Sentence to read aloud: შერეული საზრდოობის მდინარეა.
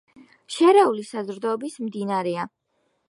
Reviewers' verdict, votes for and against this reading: rejected, 1, 2